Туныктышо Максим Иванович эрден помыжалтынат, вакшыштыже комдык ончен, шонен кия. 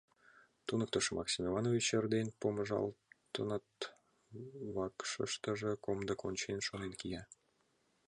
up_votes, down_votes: 0, 2